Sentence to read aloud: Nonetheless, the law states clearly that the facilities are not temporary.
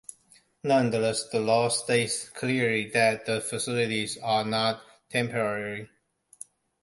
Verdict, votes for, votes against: accepted, 2, 1